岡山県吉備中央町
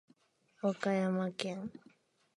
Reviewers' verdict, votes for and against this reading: rejected, 0, 2